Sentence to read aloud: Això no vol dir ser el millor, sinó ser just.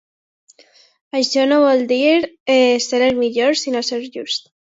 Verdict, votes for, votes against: accepted, 2, 1